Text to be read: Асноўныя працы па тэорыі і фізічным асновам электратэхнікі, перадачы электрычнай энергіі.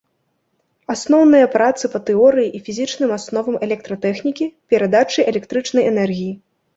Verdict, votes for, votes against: accepted, 2, 1